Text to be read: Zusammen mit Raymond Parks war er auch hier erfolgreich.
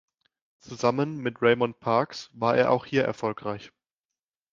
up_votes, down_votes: 2, 0